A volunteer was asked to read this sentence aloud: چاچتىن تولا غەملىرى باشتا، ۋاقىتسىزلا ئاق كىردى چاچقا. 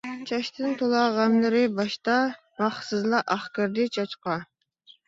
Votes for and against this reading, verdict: 1, 2, rejected